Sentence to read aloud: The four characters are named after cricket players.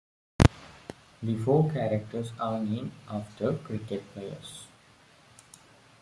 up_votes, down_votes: 2, 0